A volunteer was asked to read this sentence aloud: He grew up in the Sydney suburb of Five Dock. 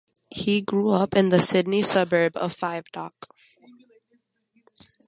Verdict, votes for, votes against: accepted, 2, 0